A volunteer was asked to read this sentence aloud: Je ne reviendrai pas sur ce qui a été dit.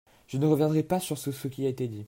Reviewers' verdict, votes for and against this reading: rejected, 0, 2